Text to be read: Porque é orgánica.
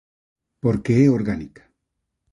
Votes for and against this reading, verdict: 2, 0, accepted